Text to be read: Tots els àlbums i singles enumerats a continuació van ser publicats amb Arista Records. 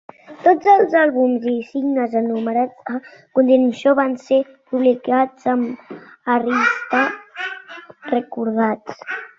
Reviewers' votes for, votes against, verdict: 0, 2, rejected